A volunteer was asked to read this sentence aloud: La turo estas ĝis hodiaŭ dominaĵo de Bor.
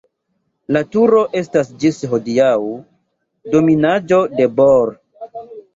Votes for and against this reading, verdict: 2, 3, rejected